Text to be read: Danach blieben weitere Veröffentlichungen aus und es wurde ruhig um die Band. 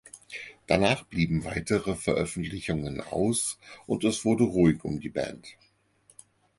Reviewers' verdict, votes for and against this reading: accepted, 4, 0